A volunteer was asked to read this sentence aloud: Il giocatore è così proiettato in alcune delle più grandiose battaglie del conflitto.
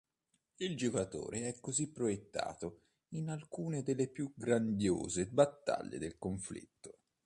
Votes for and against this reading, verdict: 2, 0, accepted